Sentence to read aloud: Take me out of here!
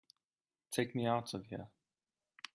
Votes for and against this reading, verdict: 1, 2, rejected